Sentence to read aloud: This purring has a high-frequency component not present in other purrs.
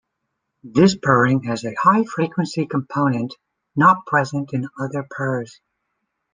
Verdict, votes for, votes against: accepted, 2, 0